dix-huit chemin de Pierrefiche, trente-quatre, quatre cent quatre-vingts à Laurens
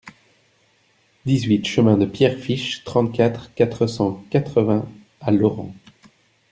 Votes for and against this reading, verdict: 1, 2, rejected